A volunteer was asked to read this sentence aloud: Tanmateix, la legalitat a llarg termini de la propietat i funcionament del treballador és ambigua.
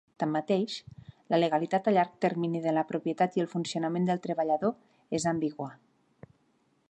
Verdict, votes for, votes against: rejected, 1, 2